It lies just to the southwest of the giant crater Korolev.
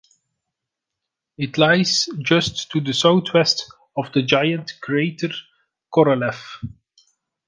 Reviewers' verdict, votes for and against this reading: accepted, 2, 0